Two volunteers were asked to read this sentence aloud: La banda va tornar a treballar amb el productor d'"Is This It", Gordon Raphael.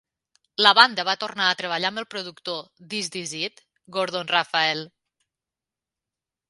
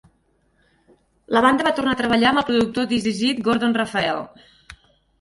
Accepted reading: first